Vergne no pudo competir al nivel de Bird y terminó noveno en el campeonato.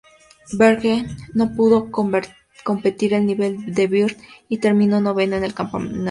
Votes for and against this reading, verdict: 0, 2, rejected